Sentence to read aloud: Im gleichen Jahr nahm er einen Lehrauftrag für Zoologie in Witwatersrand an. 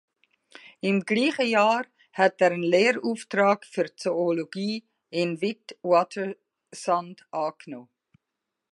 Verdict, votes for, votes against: rejected, 0, 2